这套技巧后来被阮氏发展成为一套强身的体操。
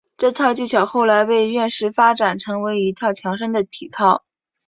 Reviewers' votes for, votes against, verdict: 1, 3, rejected